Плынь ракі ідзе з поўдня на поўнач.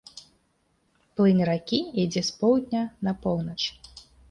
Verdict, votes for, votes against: rejected, 1, 2